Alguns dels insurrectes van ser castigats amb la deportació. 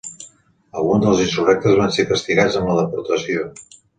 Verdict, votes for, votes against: accepted, 2, 0